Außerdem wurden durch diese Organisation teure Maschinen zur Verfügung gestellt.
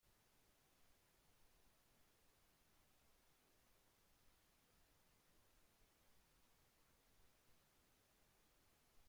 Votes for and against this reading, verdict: 0, 2, rejected